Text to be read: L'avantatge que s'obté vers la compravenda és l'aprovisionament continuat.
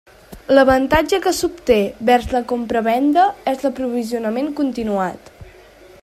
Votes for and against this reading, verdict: 3, 0, accepted